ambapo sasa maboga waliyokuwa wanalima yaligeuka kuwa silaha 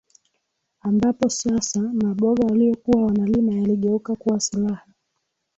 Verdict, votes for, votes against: accepted, 2, 0